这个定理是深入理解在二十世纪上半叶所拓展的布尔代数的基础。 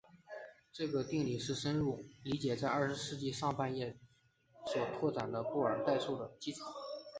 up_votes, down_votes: 2, 1